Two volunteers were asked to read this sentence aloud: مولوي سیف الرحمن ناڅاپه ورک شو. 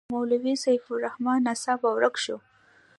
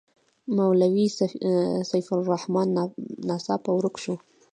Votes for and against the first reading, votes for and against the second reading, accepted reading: 2, 0, 1, 2, first